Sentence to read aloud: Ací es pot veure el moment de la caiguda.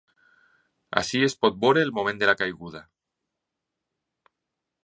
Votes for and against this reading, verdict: 0, 2, rejected